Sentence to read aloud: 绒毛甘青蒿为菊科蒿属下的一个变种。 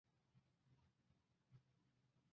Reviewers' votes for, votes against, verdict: 1, 2, rejected